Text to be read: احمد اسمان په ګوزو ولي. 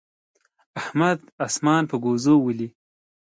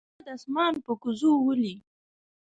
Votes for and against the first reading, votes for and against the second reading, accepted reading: 2, 0, 1, 3, first